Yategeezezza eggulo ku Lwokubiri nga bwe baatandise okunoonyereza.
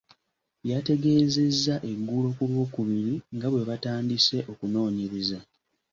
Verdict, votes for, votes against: accepted, 2, 0